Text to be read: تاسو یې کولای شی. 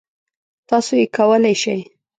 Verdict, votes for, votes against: accepted, 2, 0